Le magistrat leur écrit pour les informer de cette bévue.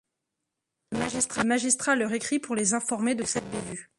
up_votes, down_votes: 0, 2